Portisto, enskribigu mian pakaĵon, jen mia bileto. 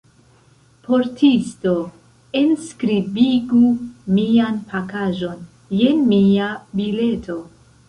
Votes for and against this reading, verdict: 1, 2, rejected